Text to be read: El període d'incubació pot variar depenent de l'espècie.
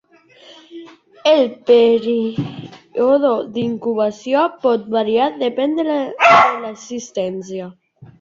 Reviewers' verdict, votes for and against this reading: rejected, 0, 2